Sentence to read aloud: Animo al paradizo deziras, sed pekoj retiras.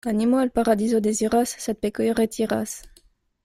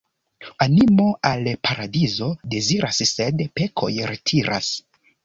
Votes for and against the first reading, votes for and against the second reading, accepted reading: 1, 2, 2, 1, second